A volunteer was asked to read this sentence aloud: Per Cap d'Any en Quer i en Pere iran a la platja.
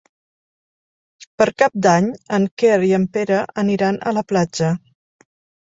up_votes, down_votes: 2, 3